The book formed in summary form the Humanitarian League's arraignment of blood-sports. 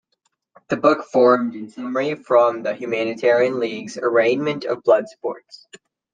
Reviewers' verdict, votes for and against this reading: rejected, 1, 2